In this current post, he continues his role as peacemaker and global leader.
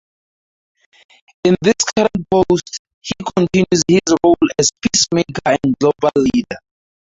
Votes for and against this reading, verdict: 0, 4, rejected